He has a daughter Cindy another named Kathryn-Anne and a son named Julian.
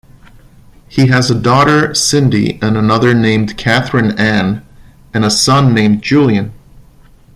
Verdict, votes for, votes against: rejected, 1, 2